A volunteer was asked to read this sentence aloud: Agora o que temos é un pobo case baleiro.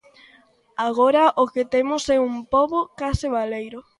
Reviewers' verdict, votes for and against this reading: accepted, 2, 0